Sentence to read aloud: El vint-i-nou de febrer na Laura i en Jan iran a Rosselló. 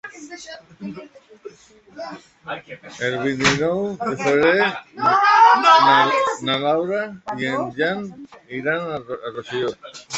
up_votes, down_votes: 0, 2